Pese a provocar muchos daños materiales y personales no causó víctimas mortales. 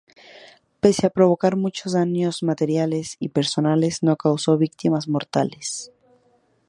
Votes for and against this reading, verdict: 2, 0, accepted